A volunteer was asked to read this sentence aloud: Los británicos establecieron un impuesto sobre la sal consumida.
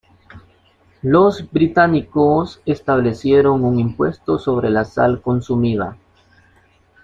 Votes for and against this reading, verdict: 2, 0, accepted